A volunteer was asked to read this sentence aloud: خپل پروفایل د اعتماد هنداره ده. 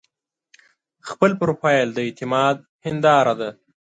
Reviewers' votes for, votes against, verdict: 3, 0, accepted